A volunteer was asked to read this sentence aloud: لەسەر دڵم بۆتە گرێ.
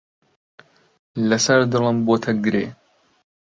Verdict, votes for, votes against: accepted, 2, 0